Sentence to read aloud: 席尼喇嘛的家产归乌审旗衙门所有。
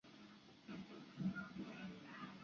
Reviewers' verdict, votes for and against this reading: rejected, 0, 2